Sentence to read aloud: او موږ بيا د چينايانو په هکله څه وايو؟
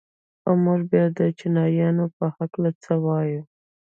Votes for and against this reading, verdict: 1, 2, rejected